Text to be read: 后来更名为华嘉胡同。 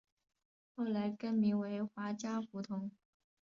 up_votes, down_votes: 2, 1